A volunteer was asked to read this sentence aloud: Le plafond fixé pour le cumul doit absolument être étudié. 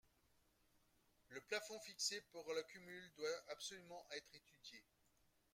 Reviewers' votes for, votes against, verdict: 1, 2, rejected